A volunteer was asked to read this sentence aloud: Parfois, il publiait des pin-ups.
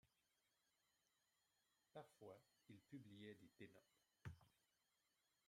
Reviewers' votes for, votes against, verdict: 1, 2, rejected